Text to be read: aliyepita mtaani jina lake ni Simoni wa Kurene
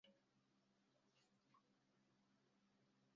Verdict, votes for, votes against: rejected, 0, 2